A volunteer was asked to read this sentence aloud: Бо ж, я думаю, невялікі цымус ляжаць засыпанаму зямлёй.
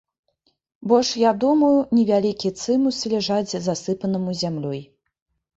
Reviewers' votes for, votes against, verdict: 1, 2, rejected